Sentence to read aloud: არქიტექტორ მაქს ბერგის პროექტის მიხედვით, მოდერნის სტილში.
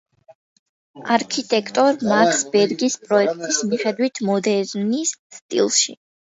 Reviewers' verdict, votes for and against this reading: accepted, 2, 0